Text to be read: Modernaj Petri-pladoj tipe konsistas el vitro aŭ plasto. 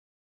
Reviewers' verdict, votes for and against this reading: rejected, 1, 2